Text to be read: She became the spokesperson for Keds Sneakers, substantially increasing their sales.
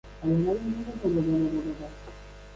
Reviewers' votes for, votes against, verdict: 0, 2, rejected